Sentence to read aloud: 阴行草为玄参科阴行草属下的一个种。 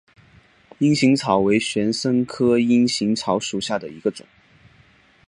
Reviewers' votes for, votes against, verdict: 4, 1, accepted